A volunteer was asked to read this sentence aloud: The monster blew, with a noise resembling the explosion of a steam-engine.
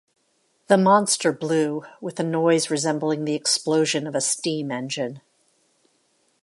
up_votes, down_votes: 2, 0